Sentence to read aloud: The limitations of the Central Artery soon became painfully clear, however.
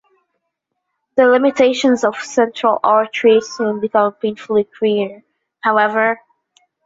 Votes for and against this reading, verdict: 0, 2, rejected